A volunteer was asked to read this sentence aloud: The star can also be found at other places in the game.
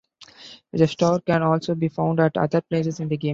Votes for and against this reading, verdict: 2, 0, accepted